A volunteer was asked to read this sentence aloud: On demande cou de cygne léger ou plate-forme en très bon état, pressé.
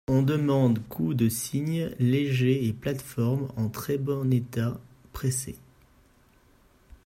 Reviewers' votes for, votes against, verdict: 0, 2, rejected